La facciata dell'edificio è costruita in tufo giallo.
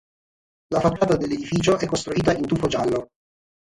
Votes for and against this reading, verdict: 3, 0, accepted